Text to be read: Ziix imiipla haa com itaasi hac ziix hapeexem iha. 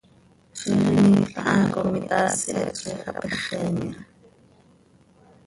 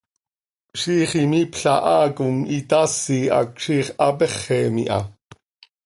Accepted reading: second